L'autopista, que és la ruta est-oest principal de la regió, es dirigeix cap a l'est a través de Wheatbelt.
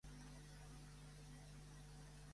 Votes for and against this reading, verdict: 0, 2, rejected